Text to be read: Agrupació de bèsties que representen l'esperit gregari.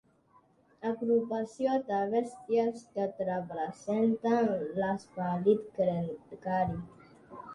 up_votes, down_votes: 2, 4